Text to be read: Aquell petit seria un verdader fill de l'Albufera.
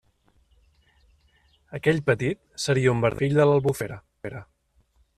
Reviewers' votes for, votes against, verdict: 0, 2, rejected